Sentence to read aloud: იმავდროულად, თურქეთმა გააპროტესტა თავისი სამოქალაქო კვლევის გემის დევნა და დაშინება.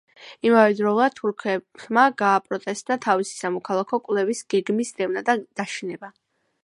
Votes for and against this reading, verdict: 0, 2, rejected